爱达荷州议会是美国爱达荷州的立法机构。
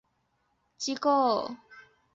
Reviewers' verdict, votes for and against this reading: rejected, 0, 2